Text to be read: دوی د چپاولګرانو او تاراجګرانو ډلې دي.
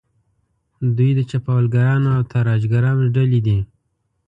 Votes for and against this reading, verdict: 3, 0, accepted